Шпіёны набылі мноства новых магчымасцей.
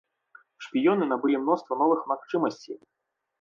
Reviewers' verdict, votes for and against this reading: accepted, 2, 0